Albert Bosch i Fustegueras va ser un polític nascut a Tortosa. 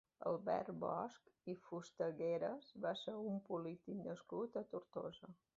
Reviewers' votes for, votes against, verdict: 2, 0, accepted